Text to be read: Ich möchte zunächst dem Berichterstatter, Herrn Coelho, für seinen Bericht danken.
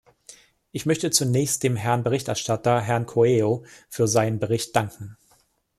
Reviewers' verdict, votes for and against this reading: rejected, 1, 2